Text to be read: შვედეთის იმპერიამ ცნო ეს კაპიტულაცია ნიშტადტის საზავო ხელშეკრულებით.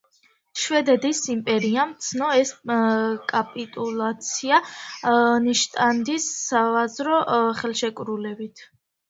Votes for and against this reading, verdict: 0, 2, rejected